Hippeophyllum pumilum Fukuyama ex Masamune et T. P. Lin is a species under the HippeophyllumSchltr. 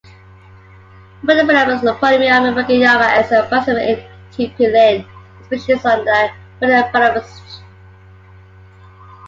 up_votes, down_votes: 1, 2